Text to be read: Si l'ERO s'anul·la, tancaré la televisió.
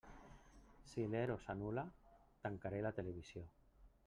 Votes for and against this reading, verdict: 1, 2, rejected